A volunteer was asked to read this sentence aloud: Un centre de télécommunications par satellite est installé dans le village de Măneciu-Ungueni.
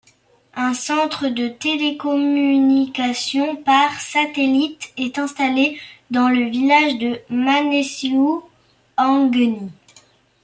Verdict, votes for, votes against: rejected, 1, 2